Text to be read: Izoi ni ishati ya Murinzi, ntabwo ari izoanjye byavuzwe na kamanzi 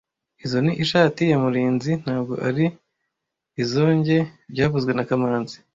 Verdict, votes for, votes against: rejected, 1, 2